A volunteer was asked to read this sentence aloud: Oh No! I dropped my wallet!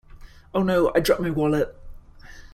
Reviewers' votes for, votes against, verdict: 1, 2, rejected